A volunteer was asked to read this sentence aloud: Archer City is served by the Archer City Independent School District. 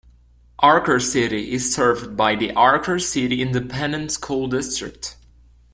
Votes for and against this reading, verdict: 0, 2, rejected